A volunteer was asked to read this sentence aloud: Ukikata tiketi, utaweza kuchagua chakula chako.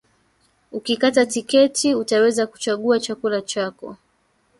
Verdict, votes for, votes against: rejected, 1, 2